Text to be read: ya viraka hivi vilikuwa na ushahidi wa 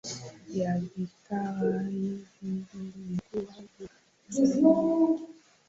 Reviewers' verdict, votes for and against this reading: accepted, 2, 0